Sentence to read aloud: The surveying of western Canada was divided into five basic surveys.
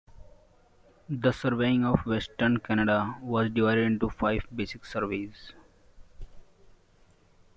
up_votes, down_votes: 2, 1